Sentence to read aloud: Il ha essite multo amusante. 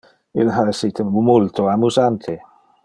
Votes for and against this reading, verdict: 2, 0, accepted